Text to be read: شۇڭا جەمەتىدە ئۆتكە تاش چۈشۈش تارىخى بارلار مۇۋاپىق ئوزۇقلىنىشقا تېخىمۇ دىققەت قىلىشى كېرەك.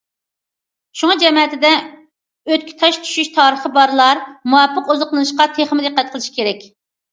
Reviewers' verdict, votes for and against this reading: accepted, 2, 0